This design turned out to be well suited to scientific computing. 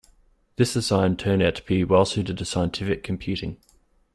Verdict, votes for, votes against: accepted, 2, 1